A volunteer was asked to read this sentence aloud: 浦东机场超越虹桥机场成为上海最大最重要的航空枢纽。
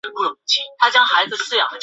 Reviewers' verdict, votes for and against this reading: rejected, 0, 2